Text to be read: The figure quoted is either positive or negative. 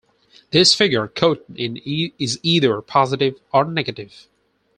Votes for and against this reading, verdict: 0, 4, rejected